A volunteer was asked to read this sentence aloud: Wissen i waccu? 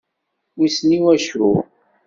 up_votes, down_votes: 2, 0